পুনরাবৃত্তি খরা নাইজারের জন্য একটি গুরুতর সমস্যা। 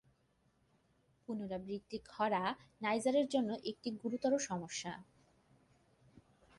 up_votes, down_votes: 2, 0